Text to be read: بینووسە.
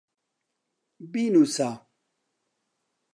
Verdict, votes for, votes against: accepted, 2, 0